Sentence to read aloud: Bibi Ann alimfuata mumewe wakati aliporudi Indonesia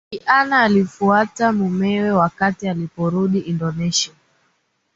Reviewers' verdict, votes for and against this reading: accepted, 3, 0